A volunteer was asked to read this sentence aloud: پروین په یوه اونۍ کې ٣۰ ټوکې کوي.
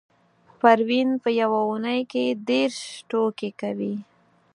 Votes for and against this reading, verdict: 0, 2, rejected